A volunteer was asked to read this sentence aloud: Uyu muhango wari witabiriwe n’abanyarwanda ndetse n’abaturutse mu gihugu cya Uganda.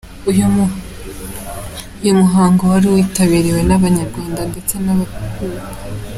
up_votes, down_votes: 1, 2